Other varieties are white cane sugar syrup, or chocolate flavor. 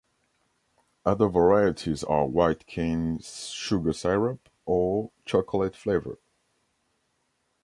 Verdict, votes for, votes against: rejected, 1, 2